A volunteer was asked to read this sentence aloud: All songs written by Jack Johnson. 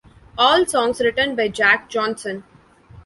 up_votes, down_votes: 2, 0